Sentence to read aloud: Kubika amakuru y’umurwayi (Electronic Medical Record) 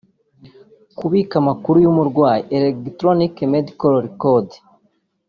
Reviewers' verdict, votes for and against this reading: accepted, 3, 0